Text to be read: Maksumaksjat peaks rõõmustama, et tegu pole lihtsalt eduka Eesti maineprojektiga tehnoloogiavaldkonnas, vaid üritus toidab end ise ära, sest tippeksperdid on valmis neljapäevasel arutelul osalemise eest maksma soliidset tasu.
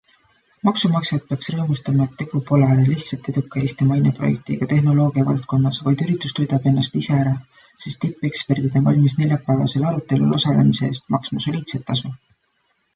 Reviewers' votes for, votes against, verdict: 1, 2, rejected